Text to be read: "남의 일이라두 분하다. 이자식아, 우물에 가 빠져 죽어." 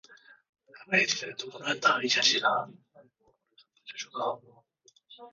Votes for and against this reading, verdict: 0, 2, rejected